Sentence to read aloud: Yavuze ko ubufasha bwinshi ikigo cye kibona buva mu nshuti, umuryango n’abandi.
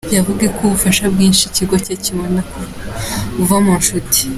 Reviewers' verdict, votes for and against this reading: rejected, 0, 2